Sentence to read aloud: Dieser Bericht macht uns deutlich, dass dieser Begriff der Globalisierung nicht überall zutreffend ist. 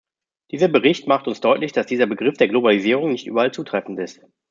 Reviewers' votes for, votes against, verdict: 2, 0, accepted